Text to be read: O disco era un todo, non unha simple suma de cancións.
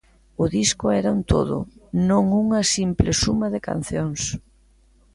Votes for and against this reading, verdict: 2, 0, accepted